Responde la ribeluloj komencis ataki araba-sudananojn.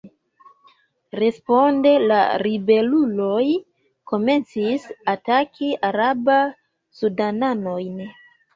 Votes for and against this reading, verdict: 2, 1, accepted